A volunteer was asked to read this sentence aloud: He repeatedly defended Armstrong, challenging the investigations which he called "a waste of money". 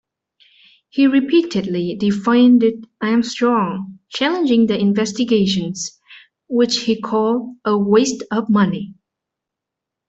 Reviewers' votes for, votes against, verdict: 0, 2, rejected